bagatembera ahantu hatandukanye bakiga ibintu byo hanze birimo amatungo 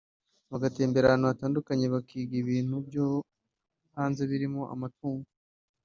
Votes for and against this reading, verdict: 2, 0, accepted